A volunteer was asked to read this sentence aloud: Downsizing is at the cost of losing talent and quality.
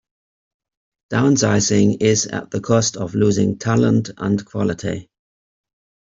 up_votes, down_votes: 2, 0